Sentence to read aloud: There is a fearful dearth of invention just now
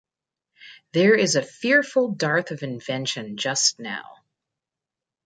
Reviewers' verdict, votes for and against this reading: rejected, 1, 2